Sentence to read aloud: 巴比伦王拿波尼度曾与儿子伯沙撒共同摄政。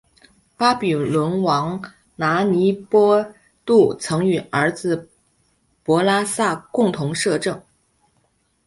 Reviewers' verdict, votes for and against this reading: rejected, 1, 3